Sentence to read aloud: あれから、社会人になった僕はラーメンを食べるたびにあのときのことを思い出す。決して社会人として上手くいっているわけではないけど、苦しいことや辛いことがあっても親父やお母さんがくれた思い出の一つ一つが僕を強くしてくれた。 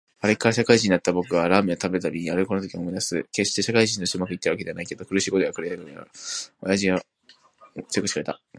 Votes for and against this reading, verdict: 4, 3, accepted